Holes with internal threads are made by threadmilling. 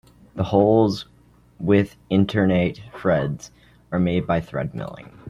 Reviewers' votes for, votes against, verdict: 0, 2, rejected